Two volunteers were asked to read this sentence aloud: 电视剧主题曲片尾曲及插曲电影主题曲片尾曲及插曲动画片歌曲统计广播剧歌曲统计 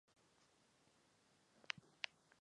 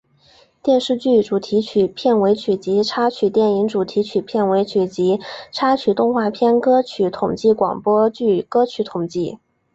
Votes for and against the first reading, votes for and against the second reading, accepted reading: 0, 2, 3, 0, second